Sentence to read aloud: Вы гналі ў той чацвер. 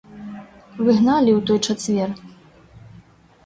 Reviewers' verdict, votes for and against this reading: accepted, 2, 0